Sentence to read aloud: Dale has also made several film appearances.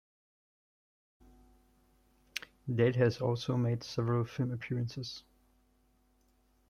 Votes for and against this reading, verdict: 2, 0, accepted